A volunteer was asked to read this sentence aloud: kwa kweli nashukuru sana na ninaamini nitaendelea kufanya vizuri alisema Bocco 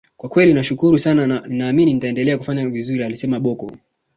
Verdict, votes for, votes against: accepted, 2, 0